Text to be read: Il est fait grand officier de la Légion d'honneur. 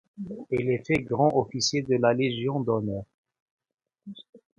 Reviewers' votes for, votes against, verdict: 2, 1, accepted